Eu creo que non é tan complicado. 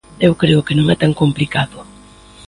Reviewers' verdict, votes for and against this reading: accepted, 2, 0